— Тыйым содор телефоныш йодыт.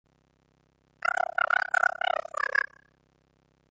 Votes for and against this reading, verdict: 0, 2, rejected